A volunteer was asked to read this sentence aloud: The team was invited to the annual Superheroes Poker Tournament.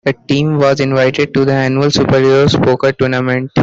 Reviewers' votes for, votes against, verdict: 2, 1, accepted